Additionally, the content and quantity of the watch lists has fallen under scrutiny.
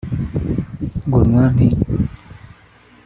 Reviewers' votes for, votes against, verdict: 0, 2, rejected